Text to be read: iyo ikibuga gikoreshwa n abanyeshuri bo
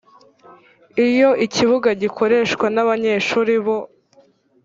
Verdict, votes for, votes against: accepted, 2, 0